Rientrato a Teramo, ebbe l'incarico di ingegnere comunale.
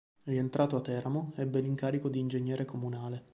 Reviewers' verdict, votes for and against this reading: accepted, 2, 0